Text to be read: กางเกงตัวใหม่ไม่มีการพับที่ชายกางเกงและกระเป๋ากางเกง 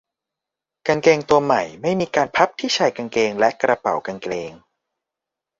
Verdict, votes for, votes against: rejected, 1, 2